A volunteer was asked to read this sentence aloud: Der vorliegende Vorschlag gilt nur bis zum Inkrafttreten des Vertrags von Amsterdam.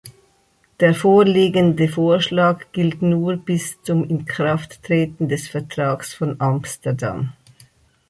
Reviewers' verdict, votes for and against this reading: accepted, 4, 0